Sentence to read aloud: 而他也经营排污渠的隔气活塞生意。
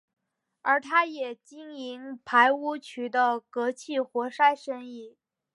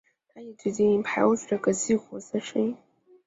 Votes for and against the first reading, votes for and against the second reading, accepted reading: 3, 0, 0, 4, first